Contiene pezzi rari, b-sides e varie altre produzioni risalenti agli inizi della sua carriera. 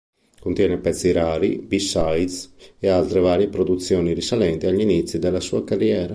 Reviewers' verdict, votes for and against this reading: rejected, 0, 2